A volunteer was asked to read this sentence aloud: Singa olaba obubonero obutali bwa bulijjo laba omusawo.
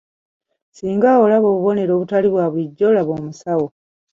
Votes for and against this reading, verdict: 2, 0, accepted